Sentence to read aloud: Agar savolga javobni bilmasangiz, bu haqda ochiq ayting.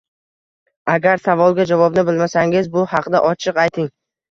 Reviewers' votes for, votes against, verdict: 2, 0, accepted